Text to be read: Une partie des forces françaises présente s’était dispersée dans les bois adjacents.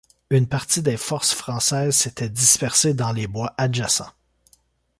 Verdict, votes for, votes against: rejected, 1, 2